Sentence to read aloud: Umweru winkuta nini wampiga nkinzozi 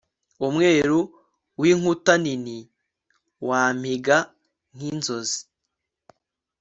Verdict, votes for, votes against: accepted, 3, 0